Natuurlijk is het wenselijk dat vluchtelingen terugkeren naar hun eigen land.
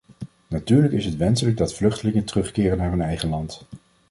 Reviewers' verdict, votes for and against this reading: accepted, 2, 0